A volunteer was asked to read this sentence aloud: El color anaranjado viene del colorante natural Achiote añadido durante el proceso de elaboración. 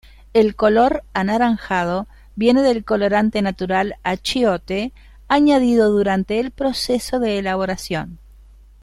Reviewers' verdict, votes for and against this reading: accepted, 2, 0